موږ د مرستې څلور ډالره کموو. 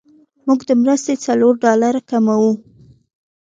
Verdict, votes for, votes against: accepted, 2, 0